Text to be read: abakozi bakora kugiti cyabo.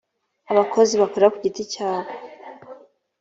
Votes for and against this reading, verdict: 4, 0, accepted